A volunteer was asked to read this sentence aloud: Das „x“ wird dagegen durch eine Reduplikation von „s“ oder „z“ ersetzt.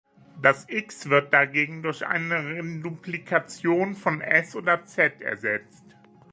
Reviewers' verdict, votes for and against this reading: rejected, 1, 2